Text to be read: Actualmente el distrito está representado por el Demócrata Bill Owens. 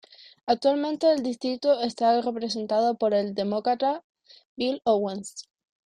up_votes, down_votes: 0, 2